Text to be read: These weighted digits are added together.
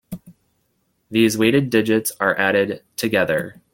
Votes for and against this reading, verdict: 2, 0, accepted